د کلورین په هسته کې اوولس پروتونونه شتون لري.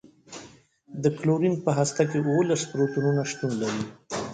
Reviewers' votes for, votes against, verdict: 2, 0, accepted